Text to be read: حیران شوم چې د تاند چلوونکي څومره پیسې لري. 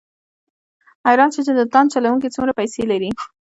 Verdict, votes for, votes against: accepted, 2, 0